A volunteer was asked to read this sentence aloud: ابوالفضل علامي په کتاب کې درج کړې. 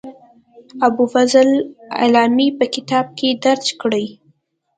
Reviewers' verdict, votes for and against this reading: accepted, 2, 0